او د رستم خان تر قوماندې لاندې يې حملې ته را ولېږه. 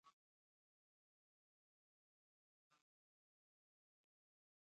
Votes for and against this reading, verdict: 1, 2, rejected